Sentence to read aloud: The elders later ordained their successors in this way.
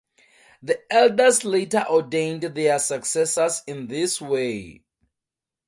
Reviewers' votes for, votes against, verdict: 2, 0, accepted